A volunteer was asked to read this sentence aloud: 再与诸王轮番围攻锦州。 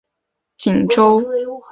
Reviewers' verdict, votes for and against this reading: rejected, 0, 2